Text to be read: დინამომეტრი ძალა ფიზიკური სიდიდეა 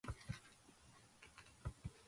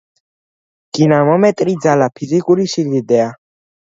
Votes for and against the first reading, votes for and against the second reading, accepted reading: 0, 2, 2, 0, second